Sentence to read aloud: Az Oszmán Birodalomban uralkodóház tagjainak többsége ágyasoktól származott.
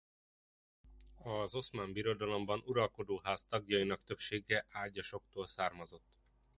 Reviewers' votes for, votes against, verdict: 2, 0, accepted